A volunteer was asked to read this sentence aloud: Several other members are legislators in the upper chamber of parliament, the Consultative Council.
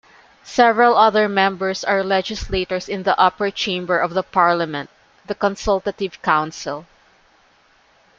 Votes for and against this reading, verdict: 0, 2, rejected